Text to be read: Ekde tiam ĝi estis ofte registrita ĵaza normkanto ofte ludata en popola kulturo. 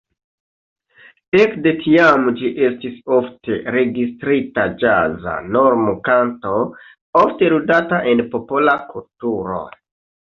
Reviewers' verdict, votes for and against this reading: rejected, 0, 2